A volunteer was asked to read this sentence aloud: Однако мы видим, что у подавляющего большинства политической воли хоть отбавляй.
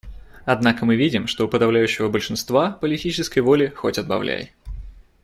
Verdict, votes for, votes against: accepted, 2, 0